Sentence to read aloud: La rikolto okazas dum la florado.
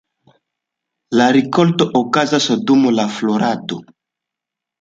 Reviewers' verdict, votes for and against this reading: accepted, 2, 0